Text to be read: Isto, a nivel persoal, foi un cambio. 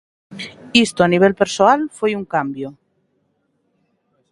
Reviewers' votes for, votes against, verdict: 2, 0, accepted